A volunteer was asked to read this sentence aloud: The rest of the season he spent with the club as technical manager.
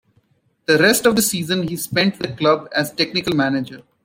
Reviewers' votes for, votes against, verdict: 2, 0, accepted